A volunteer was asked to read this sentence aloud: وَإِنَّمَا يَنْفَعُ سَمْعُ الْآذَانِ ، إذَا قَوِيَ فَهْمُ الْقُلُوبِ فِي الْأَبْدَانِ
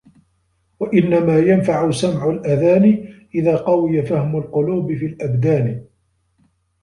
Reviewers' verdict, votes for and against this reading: accepted, 2, 0